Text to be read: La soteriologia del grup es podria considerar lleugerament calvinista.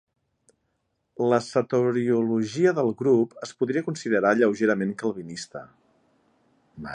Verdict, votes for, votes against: rejected, 0, 2